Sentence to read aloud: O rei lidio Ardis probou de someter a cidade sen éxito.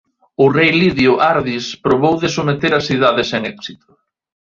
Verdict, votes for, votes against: rejected, 1, 2